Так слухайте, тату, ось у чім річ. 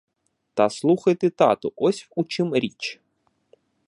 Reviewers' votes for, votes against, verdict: 0, 2, rejected